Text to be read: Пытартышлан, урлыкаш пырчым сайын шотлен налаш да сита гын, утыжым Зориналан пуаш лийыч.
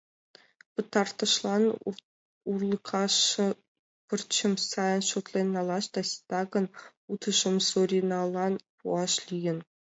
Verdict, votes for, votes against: rejected, 0, 2